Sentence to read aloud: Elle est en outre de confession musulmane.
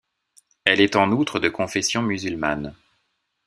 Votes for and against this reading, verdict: 2, 0, accepted